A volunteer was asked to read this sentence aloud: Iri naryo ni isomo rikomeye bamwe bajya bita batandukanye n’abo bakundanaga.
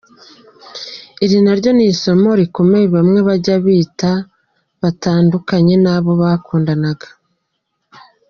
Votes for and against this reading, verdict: 1, 2, rejected